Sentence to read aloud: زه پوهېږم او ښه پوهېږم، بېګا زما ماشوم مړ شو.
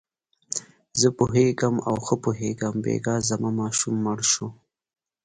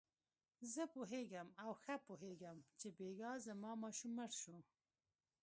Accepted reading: first